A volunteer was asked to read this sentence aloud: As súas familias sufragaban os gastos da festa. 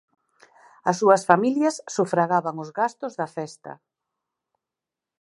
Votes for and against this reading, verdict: 4, 0, accepted